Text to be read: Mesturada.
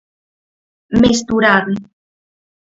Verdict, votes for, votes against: rejected, 0, 4